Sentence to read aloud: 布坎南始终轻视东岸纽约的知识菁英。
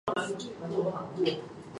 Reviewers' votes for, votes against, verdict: 1, 2, rejected